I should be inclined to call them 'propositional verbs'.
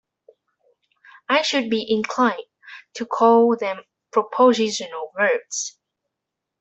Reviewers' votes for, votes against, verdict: 1, 2, rejected